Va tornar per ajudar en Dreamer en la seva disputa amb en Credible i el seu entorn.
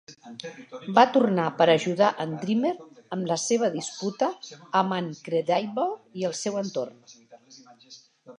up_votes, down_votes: 2, 1